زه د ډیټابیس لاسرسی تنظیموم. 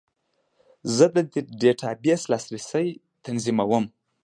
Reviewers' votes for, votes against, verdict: 2, 0, accepted